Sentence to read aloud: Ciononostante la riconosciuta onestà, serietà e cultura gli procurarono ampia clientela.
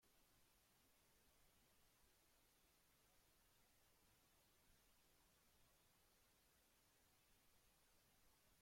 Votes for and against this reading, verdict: 0, 2, rejected